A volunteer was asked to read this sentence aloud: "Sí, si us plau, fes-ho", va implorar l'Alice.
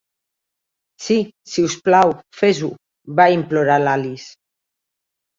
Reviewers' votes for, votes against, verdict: 3, 0, accepted